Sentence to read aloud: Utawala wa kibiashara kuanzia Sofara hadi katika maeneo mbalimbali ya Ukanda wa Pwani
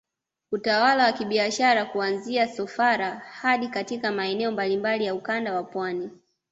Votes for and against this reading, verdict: 2, 0, accepted